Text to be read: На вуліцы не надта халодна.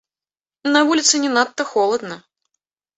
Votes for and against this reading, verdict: 0, 2, rejected